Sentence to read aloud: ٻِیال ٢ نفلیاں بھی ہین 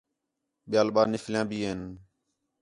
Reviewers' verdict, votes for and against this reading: rejected, 0, 2